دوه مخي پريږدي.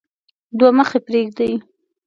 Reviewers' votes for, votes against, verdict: 2, 0, accepted